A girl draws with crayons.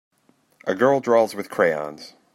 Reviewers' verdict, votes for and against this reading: accepted, 3, 0